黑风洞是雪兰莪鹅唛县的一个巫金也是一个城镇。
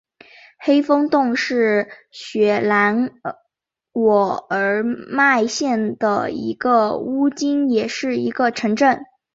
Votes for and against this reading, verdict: 0, 4, rejected